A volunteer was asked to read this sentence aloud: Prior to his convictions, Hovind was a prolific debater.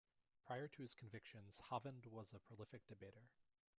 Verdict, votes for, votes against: accepted, 2, 0